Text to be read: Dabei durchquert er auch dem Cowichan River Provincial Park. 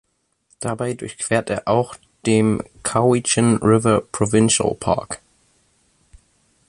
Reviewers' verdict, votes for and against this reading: accepted, 2, 0